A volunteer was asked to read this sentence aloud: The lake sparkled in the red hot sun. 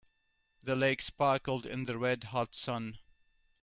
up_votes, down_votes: 2, 0